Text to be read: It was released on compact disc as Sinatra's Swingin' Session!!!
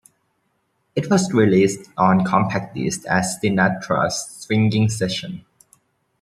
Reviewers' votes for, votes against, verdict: 0, 2, rejected